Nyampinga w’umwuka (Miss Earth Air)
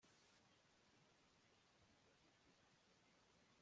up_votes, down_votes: 0, 2